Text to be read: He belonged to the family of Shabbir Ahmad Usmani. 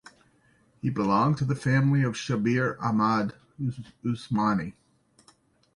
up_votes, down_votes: 1, 2